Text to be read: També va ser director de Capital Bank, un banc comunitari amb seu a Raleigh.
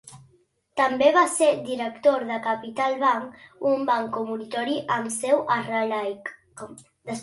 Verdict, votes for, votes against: rejected, 1, 2